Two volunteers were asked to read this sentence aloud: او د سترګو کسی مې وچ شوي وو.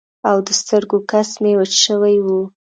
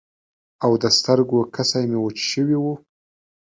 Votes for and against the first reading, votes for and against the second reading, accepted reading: 1, 2, 2, 0, second